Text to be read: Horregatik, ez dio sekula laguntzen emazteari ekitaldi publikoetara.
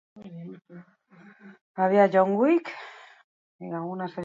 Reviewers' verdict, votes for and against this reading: rejected, 0, 4